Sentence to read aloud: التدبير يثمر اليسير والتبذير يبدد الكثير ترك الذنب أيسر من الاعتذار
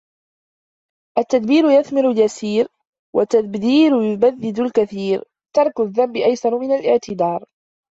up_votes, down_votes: 1, 2